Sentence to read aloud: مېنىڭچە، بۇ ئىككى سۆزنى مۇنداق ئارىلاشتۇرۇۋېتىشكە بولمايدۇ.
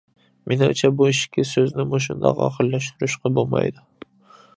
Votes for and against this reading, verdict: 1, 2, rejected